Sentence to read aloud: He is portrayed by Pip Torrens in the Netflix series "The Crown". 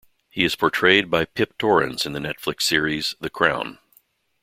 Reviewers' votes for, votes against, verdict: 2, 0, accepted